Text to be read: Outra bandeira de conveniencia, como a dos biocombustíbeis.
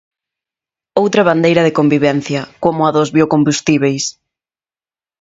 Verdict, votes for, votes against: rejected, 0, 2